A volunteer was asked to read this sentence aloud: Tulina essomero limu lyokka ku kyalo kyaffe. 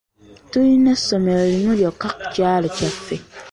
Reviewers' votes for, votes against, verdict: 1, 2, rejected